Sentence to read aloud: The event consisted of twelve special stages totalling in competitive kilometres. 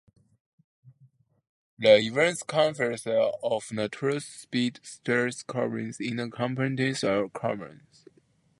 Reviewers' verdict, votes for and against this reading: rejected, 0, 2